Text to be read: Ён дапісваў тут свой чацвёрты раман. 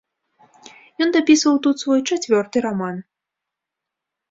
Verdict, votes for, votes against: accepted, 2, 0